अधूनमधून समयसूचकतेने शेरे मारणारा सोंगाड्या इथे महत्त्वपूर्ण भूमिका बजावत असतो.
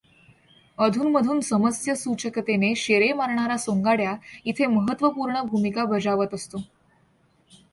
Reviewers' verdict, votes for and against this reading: accepted, 2, 0